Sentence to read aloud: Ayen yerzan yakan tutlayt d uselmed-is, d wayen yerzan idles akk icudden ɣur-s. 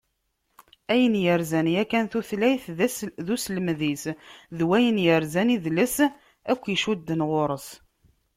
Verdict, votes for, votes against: rejected, 0, 2